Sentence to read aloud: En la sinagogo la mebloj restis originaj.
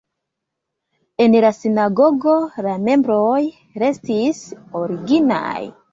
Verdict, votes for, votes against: rejected, 0, 2